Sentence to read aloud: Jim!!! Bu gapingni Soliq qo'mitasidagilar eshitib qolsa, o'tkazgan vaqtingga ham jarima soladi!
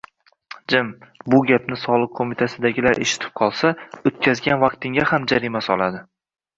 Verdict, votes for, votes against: accepted, 2, 0